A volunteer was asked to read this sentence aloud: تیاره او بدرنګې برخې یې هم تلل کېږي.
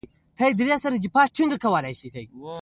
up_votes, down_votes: 2, 0